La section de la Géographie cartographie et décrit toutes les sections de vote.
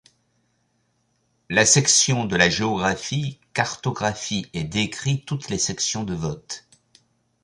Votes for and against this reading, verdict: 2, 0, accepted